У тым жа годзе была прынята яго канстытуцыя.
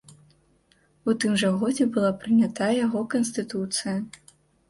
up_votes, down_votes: 2, 0